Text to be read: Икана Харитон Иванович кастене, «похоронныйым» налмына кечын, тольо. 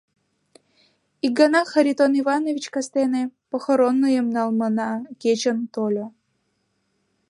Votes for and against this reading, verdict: 1, 2, rejected